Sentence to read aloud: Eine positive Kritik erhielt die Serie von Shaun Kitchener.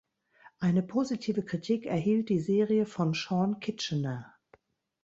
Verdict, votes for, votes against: accepted, 2, 0